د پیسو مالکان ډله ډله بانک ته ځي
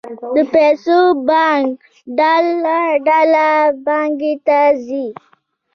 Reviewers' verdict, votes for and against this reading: rejected, 0, 2